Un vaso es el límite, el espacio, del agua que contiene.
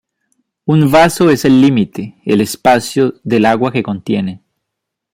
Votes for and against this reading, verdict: 2, 0, accepted